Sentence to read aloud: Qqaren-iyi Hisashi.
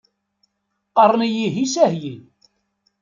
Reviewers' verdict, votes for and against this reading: rejected, 1, 2